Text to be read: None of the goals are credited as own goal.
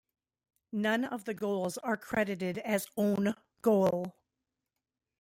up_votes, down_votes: 2, 1